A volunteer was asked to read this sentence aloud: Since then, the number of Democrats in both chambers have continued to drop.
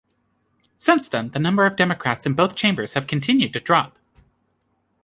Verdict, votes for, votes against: accepted, 2, 0